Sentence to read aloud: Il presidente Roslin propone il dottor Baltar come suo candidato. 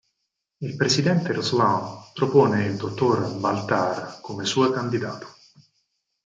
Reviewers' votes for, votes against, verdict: 2, 4, rejected